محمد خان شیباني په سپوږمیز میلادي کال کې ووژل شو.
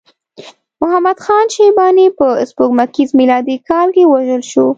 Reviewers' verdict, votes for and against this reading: accepted, 2, 0